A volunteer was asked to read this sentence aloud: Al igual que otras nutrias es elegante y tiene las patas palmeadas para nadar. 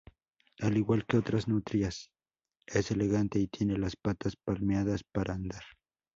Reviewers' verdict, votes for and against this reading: rejected, 0, 4